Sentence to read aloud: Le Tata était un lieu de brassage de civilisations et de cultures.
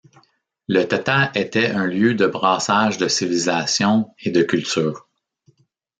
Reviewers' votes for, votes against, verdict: 2, 0, accepted